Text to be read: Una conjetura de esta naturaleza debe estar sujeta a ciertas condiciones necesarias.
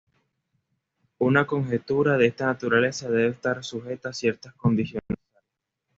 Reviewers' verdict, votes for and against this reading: rejected, 1, 2